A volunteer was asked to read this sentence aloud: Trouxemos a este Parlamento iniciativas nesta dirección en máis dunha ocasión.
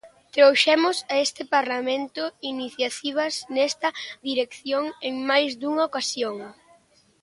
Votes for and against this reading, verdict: 1, 2, rejected